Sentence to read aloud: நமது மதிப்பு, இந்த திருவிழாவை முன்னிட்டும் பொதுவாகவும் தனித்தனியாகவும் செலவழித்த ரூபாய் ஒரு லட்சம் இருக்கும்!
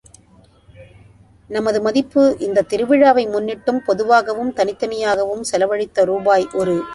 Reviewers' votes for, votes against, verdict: 0, 2, rejected